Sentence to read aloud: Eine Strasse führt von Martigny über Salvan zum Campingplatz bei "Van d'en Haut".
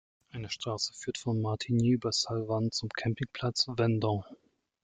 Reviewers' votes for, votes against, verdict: 1, 2, rejected